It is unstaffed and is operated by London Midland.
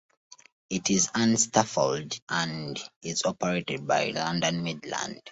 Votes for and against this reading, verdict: 0, 2, rejected